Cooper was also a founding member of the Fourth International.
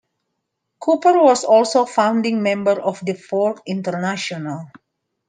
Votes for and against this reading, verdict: 2, 1, accepted